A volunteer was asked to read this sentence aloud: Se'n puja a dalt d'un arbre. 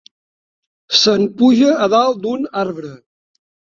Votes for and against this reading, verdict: 5, 0, accepted